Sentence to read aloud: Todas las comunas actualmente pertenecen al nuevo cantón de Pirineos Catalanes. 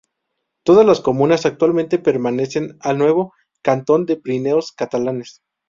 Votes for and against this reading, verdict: 0, 2, rejected